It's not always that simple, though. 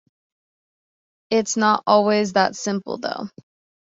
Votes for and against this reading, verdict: 2, 0, accepted